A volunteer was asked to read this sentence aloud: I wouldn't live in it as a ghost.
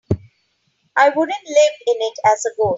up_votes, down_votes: 1, 2